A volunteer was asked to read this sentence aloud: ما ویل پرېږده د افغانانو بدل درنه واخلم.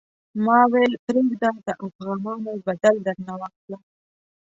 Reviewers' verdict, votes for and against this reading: rejected, 0, 2